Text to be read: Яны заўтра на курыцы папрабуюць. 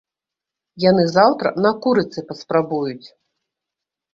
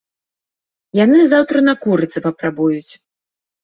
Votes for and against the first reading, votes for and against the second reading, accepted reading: 0, 2, 2, 0, second